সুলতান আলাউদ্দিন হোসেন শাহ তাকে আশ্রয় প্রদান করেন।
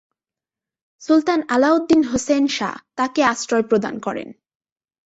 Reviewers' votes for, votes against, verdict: 7, 0, accepted